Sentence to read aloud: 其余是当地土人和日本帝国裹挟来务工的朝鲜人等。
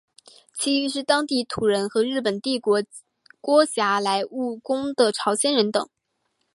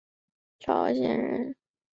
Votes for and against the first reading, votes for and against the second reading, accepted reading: 3, 0, 0, 6, first